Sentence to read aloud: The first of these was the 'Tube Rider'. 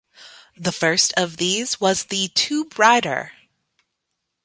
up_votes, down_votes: 2, 1